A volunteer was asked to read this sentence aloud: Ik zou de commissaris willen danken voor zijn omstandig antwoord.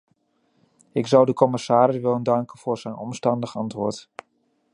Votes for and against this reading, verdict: 2, 0, accepted